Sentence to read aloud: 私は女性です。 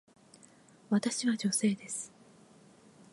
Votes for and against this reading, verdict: 1, 2, rejected